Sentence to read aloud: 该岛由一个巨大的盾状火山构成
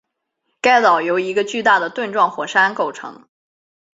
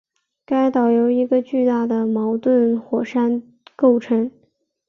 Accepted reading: first